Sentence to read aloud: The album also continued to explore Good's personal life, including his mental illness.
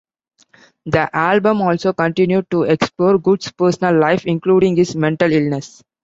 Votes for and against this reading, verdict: 2, 1, accepted